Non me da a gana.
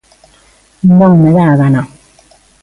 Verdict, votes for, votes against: accepted, 2, 0